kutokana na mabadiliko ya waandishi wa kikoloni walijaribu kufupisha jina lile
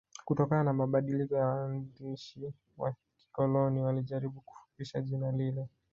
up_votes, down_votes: 2, 0